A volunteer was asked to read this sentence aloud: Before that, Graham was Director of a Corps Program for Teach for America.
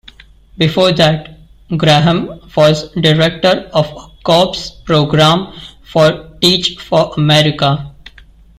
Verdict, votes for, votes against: rejected, 0, 2